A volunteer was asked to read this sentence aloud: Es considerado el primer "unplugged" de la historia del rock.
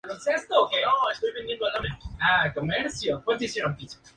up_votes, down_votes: 0, 2